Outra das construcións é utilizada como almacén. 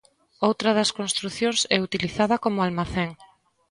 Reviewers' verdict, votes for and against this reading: accepted, 2, 0